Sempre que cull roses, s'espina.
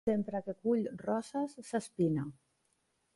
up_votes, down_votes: 0, 2